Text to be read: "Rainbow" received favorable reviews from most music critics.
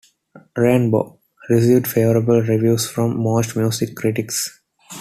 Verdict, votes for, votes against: rejected, 1, 2